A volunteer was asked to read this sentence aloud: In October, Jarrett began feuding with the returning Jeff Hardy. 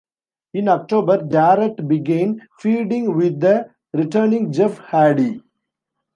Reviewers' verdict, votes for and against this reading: rejected, 0, 3